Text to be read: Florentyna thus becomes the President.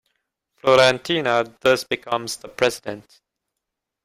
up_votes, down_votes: 2, 1